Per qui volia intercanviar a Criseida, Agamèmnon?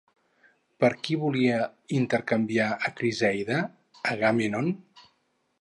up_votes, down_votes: 0, 2